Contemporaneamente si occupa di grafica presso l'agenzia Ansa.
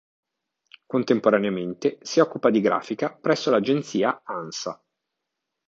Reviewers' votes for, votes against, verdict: 2, 0, accepted